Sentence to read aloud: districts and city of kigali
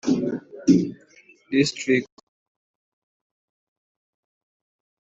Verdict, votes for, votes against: rejected, 0, 2